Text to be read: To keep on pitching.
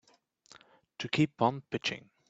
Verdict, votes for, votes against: accepted, 2, 1